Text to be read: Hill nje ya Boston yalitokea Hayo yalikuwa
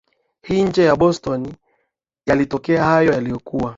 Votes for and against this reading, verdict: 3, 0, accepted